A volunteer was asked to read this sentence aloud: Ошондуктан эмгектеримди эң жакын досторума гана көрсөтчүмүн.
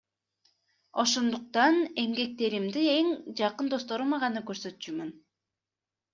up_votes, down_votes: 2, 0